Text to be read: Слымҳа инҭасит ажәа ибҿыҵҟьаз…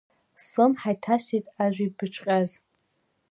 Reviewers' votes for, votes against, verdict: 0, 2, rejected